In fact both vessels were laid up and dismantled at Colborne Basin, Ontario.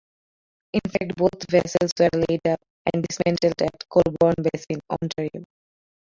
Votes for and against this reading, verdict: 0, 2, rejected